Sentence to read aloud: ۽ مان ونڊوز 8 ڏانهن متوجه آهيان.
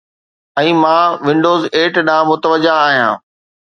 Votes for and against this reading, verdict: 0, 2, rejected